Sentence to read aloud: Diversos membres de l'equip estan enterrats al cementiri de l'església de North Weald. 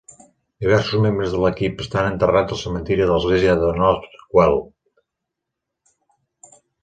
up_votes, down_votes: 2, 0